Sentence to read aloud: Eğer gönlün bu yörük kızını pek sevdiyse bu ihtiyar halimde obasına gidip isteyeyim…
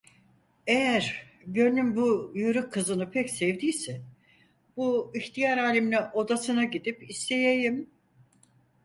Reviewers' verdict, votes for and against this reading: rejected, 0, 4